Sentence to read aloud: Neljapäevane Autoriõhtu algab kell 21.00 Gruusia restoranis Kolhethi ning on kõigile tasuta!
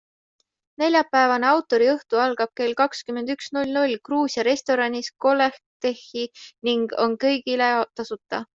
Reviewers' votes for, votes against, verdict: 0, 2, rejected